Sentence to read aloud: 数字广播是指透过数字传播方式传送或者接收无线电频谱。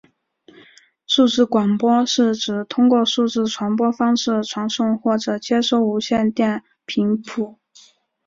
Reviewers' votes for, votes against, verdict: 5, 1, accepted